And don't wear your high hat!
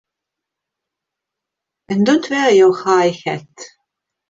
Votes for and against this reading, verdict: 2, 0, accepted